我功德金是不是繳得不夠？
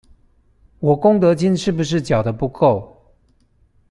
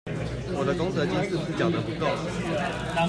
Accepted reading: first